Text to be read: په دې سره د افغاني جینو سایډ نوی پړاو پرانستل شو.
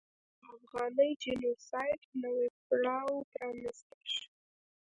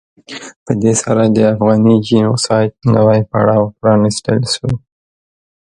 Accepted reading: second